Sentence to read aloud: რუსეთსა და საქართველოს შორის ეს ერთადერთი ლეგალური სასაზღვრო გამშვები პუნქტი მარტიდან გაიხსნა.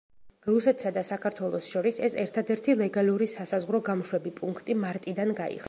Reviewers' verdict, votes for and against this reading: rejected, 0, 2